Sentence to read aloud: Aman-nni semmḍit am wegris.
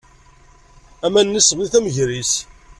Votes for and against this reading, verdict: 2, 0, accepted